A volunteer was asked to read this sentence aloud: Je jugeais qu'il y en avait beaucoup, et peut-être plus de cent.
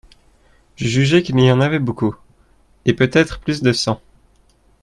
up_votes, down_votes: 0, 2